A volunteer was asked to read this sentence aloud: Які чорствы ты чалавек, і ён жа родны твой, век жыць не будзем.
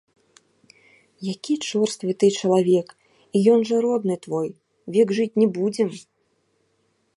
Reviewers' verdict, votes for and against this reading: rejected, 0, 2